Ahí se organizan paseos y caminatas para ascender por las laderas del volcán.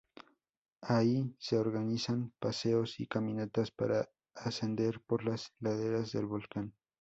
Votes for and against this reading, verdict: 4, 0, accepted